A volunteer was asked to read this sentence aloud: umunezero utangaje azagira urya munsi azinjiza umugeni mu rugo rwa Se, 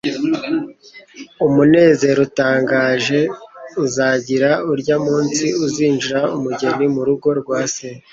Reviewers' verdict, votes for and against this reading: rejected, 1, 2